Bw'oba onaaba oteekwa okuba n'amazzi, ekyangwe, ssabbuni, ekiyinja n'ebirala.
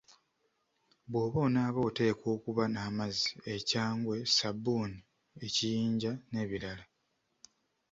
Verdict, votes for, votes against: accepted, 2, 1